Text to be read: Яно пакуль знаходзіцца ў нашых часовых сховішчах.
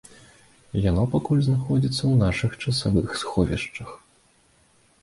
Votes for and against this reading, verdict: 1, 2, rejected